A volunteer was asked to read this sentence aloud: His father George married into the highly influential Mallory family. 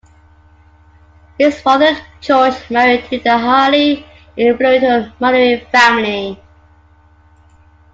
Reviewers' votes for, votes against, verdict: 2, 1, accepted